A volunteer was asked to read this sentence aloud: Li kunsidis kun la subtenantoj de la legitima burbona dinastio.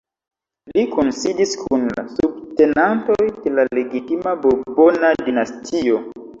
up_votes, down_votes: 1, 2